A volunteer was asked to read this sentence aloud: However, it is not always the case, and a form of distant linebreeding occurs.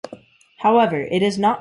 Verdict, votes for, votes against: rejected, 0, 2